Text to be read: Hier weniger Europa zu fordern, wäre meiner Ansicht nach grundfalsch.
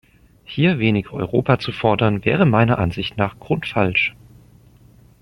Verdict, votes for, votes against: rejected, 0, 2